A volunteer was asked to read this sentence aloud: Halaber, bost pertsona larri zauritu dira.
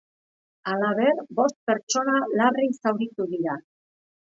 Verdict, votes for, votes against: accepted, 4, 0